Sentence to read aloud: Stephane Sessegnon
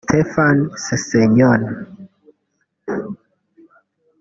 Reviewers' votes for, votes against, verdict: 1, 2, rejected